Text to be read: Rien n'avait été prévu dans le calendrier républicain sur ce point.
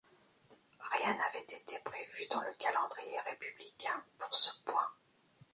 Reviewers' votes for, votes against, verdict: 0, 2, rejected